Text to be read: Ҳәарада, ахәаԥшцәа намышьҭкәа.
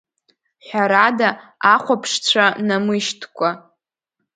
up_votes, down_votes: 2, 0